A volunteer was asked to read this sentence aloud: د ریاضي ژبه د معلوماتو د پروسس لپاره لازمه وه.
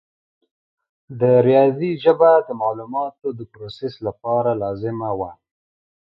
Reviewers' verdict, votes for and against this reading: accepted, 2, 0